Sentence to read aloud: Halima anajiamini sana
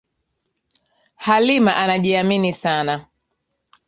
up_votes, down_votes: 2, 1